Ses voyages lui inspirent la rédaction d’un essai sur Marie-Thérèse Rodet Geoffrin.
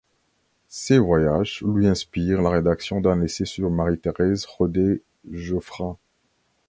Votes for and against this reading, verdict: 1, 2, rejected